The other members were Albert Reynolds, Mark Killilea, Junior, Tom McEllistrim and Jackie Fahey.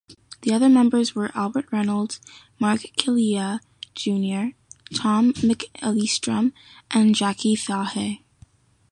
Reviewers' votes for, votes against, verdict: 2, 0, accepted